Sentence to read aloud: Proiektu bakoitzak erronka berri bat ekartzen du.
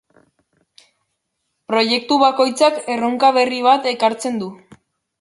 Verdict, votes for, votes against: accepted, 2, 0